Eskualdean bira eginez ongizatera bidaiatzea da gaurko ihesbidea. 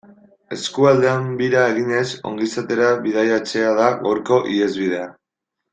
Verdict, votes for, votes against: accepted, 2, 0